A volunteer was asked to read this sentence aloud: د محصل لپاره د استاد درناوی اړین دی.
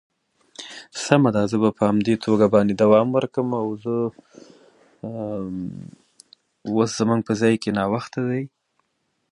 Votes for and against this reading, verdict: 0, 2, rejected